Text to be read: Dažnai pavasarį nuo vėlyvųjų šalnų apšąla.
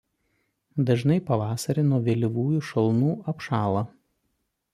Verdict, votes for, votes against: accepted, 2, 0